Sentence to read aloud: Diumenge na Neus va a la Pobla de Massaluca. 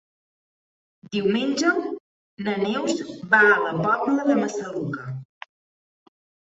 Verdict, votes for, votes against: accepted, 4, 0